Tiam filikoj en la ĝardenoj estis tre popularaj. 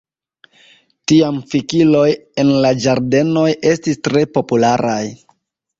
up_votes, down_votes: 1, 2